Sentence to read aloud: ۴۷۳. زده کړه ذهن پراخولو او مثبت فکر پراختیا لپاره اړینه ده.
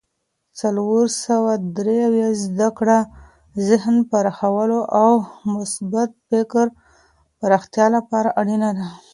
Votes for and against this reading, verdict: 0, 2, rejected